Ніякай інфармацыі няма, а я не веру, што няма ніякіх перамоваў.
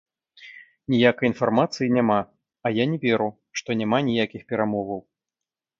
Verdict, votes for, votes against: rejected, 1, 2